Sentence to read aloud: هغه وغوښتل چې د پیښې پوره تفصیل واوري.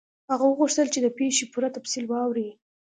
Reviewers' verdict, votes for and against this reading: accepted, 2, 0